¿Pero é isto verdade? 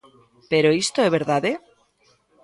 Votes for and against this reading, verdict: 1, 2, rejected